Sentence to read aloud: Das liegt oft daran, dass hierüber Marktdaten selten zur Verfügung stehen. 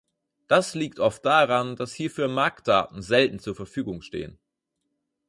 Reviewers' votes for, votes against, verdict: 2, 4, rejected